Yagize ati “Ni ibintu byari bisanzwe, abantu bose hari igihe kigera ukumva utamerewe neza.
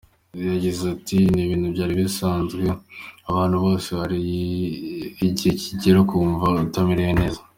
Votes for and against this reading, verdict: 2, 0, accepted